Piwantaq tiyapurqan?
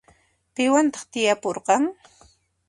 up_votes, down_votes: 2, 0